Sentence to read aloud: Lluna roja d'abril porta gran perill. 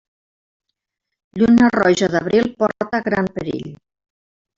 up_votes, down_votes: 0, 3